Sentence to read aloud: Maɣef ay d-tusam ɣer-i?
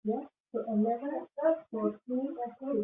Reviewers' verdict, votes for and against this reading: rejected, 0, 2